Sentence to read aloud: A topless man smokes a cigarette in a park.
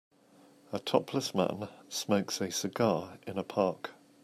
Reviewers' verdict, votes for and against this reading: rejected, 0, 2